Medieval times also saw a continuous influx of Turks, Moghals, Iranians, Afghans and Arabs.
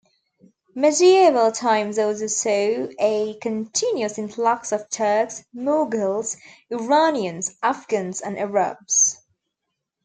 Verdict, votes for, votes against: rejected, 1, 2